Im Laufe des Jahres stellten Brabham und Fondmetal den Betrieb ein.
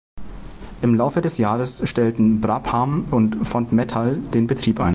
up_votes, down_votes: 2, 0